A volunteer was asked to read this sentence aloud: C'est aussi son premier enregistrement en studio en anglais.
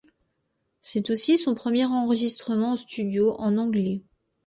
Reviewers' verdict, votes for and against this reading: accepted, 2, 0